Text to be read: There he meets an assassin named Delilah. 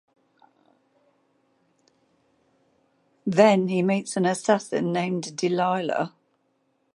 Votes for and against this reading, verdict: 0, 2, rejected